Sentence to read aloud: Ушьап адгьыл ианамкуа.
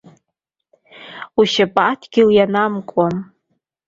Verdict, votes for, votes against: accepted, 2, 0